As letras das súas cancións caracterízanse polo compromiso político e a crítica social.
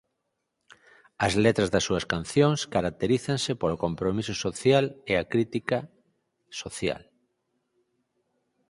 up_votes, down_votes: 2, 4